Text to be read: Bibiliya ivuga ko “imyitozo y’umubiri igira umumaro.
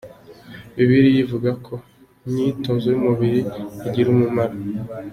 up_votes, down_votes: 2, 0